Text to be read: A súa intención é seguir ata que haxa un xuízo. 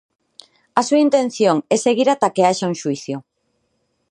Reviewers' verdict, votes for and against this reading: rejected, 0, 4